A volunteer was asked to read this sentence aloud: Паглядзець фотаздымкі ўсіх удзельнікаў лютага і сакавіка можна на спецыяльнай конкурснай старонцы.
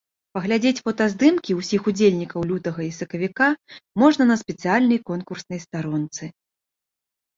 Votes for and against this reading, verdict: 2, 0, accepted